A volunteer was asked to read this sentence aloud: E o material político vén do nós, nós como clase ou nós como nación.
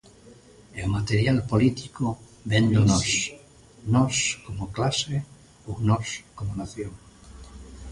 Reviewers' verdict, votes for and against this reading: accepted, 2, 0